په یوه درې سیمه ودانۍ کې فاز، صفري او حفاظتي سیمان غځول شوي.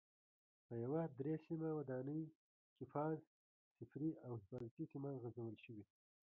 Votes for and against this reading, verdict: 1, 2, rejected